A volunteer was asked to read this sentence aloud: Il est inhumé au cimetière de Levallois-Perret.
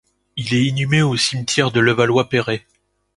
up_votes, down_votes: 2, 0